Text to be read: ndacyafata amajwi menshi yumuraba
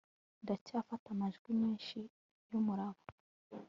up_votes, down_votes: 3, 0